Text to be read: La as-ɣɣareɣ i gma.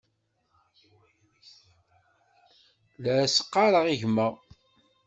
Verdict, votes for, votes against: rejected, 1, 2